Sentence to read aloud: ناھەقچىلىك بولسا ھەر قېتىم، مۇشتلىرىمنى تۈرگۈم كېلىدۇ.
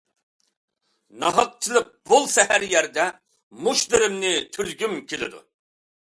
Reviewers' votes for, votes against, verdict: 0, 2, rejected